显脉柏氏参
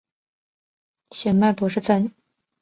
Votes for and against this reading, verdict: 2, 0, accepted